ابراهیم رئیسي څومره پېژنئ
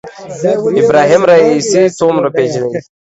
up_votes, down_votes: 2, 1